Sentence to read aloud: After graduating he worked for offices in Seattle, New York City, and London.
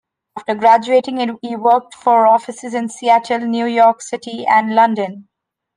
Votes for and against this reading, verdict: 1, 3, rejected